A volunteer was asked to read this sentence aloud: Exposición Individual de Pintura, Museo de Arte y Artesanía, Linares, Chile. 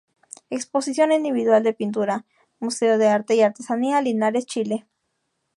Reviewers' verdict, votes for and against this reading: accepted, 2, 0